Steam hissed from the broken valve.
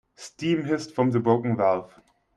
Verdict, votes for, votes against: accepted, 2, 0